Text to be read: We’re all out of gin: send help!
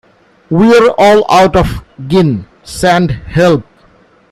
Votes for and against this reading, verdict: 0, 2, rejected